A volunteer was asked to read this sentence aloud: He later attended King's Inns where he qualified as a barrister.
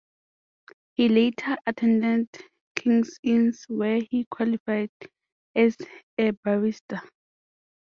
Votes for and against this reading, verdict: 2, 0, accepted